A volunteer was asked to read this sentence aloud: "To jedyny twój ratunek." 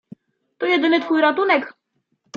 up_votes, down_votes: 2, 0